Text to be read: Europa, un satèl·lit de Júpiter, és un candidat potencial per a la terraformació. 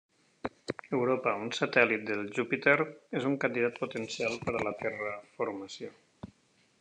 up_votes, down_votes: 1, 2